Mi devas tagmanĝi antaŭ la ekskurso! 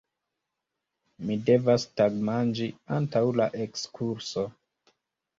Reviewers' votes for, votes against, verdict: 1, 2, rejected